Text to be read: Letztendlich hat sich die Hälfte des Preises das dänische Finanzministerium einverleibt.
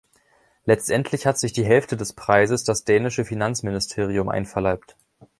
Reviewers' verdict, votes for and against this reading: accepted, 2, 0